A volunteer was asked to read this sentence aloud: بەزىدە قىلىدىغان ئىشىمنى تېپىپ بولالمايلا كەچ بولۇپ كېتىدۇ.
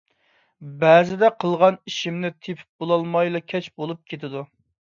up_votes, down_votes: 0, 2